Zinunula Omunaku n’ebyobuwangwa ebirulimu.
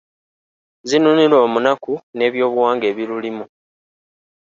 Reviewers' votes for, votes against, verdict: 1, 2, rejected